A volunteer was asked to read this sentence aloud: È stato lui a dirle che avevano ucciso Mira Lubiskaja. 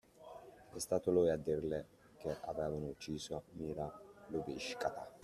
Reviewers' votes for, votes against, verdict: 2, 1, accepted